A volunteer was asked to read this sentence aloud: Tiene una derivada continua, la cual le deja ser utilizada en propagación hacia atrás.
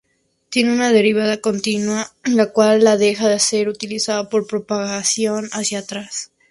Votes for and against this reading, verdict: 0, 2, rejected